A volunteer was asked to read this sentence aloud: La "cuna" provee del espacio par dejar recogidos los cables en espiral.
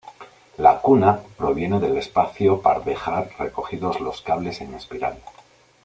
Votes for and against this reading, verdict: 1, 2, rejected